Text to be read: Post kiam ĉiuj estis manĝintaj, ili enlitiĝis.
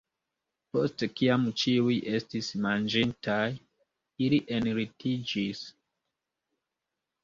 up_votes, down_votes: 2, 0